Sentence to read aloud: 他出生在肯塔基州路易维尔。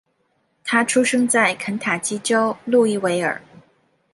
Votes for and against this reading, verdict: 2, 0, accepted